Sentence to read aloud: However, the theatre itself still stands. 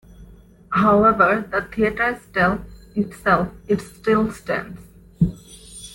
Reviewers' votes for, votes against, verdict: 2, 1, accepted